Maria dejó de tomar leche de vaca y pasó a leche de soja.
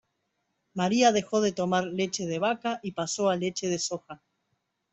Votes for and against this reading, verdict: 2, 0, accepted